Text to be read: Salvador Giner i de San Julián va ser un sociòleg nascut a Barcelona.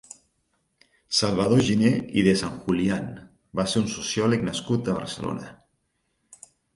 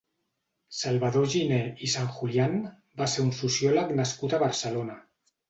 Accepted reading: first